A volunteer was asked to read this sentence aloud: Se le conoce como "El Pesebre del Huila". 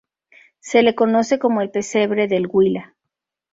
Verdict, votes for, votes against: rejected, 0, 2